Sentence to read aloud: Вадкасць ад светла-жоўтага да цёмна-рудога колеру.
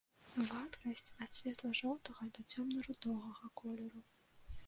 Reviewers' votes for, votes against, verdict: 1, 2, rejected